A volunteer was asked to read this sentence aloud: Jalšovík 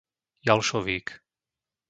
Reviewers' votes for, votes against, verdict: 2, 0, accepted